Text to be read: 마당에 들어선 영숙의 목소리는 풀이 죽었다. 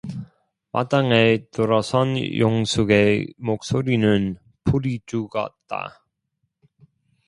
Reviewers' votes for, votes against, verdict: 2, 0, accepted